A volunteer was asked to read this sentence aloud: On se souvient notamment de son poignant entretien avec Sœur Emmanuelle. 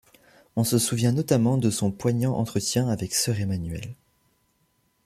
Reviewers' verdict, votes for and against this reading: accepted, 2, 0